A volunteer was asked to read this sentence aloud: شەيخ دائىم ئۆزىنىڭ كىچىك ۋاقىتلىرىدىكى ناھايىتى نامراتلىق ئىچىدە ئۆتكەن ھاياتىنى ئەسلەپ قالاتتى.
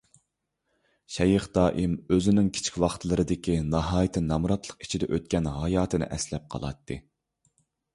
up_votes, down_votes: 2, 0